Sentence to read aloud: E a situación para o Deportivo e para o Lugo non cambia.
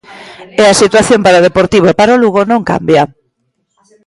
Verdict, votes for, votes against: accepted, 2, 1